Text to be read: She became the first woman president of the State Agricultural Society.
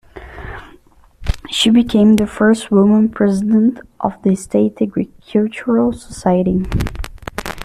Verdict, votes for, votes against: accepted, 2, 1